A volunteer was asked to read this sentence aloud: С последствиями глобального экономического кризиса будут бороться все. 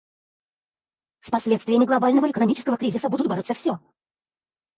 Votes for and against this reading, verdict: 2, 4, rejected